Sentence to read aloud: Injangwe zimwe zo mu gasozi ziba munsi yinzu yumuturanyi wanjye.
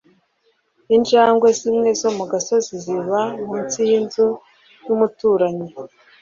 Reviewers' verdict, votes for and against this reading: rejected, 0, 2